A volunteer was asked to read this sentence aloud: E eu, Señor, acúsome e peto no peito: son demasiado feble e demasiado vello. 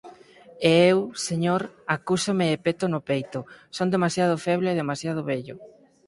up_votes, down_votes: 4, 0